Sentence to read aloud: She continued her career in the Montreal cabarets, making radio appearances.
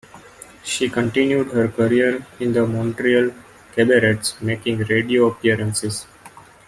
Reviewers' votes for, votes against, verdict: 2, 1, accepted